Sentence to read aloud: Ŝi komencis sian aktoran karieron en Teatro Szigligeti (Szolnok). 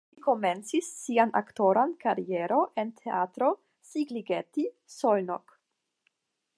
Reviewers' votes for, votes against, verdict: 0, 5, rejected